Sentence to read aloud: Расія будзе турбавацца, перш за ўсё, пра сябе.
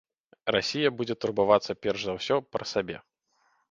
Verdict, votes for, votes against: rejected, 0, 2